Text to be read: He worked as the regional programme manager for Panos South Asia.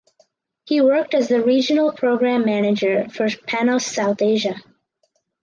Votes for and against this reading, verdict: 4, 2, accepted